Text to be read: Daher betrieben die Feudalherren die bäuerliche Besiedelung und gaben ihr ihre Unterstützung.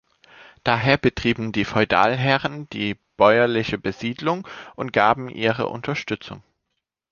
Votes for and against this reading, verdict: 1, 2, rejected